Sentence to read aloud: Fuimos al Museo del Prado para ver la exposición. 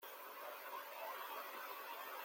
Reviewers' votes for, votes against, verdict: 0, 2, rejected